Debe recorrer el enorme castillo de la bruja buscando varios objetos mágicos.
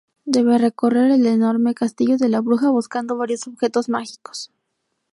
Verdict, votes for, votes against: accepted, 2, 0